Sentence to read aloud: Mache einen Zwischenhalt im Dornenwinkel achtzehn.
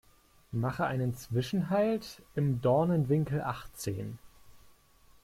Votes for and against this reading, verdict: 2, 0, accepted